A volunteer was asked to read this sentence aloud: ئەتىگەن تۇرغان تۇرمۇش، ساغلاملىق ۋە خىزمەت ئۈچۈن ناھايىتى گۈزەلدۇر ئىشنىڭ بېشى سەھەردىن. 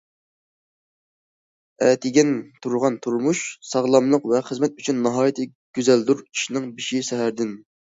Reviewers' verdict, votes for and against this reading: accepted, 2, 0